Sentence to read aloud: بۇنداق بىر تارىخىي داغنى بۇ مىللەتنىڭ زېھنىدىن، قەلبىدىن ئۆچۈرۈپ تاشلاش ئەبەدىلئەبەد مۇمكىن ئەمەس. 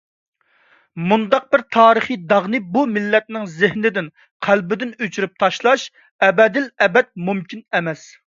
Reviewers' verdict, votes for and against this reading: rejected, 0, 2